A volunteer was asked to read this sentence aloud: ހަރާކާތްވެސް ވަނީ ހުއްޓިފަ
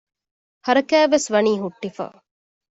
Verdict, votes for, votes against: accepted, 2, 0